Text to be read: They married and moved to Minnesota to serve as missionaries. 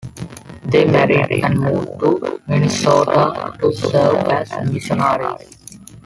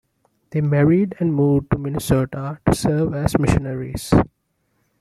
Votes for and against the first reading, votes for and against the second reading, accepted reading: 1, 2, 2, 0, second